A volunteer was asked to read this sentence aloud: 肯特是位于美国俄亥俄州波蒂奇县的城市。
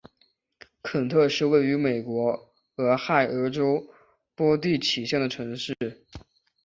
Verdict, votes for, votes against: accepted, 4, 0